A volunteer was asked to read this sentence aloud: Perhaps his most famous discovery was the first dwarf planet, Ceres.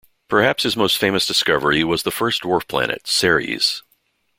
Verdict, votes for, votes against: accepted, 2, 0